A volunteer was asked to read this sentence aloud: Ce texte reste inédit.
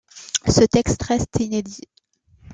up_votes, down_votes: 2, 0